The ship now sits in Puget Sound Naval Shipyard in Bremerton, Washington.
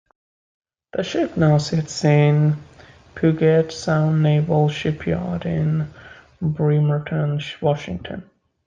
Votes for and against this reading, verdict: 2, 0, accepted